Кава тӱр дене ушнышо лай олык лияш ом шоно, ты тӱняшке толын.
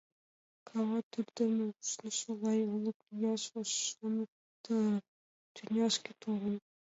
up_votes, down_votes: 0, 2